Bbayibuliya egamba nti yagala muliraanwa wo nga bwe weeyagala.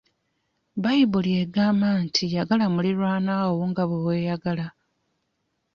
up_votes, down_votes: 2, 1